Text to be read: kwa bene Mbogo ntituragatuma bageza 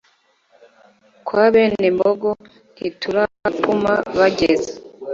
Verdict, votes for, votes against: accepted, 2, 0